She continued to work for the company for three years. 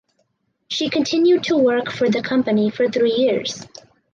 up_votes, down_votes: 4, 0